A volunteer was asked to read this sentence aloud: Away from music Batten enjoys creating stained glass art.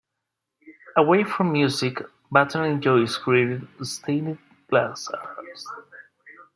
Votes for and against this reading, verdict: 0, 2, rejected